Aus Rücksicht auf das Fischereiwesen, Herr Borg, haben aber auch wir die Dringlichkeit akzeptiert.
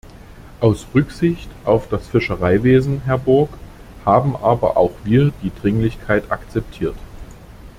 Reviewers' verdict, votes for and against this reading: accepted, 2, 0